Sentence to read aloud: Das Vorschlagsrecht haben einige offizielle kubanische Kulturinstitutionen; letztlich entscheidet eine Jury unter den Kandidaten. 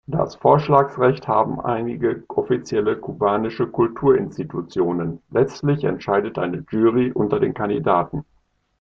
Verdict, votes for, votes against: accepted, 2, 0